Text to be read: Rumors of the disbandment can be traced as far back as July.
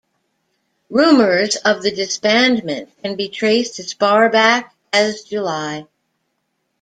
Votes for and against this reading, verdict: 2, 0, accepted